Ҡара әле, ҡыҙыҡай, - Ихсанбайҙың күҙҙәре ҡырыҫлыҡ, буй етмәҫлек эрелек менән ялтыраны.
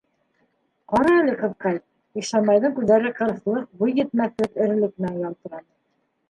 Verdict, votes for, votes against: rejected, 1, 2